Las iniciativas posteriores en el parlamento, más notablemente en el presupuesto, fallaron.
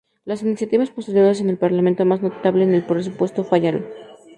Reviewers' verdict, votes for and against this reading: rejected, 0, 2